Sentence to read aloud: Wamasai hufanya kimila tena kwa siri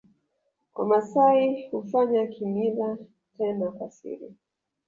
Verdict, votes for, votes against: rejected, 0, 2